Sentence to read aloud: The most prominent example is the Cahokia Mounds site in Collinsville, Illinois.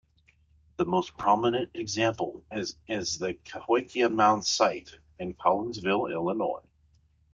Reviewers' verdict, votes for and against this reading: rejected, 1, 2